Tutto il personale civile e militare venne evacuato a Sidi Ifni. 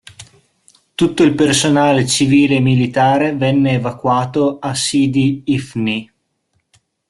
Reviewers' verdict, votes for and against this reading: accepted, 2, 0